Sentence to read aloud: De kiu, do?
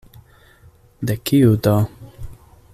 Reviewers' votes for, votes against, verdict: 2, 0, accepted